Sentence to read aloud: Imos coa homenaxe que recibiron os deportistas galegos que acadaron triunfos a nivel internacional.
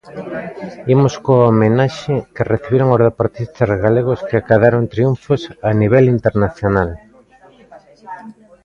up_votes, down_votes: 1, 2